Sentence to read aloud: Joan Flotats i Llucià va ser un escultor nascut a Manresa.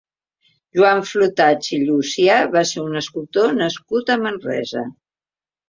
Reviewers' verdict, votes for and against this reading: accepted, 3, 0